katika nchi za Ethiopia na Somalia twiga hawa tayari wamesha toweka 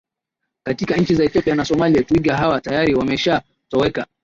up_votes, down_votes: 0, 2